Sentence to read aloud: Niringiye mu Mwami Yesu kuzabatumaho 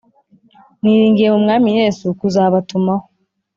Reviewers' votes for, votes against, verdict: 2, 0, accepted